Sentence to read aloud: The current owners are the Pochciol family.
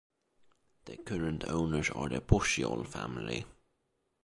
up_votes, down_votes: 2, 1